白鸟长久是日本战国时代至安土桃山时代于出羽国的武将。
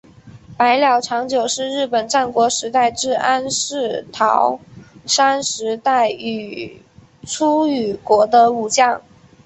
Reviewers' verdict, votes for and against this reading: accepted, 2, 0